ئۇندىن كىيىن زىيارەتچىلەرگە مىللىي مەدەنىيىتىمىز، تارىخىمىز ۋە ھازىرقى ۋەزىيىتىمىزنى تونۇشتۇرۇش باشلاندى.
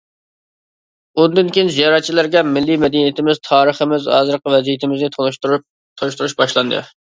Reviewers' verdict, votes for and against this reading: rejected, 0, 2